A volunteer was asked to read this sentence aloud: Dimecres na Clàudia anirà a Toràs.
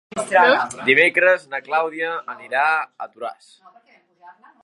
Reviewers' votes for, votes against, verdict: 3, 1, accepted